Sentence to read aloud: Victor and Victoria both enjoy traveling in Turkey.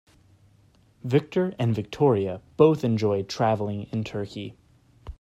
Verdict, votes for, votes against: accepted, 2, 0